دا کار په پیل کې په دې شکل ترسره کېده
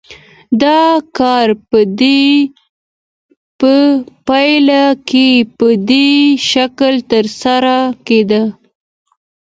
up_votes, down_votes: 2, 0